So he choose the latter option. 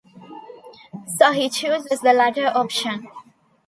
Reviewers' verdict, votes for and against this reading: rejected, 1, 2